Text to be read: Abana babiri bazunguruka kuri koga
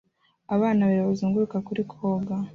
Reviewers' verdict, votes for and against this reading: accepted, 2, 1